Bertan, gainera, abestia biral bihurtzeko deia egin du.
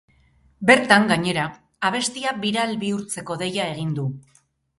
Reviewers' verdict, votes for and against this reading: accepted, 4, 0